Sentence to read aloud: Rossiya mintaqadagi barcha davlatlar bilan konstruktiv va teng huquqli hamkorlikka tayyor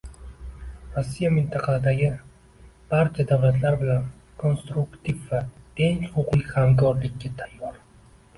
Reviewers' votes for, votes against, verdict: 0, 2, rejected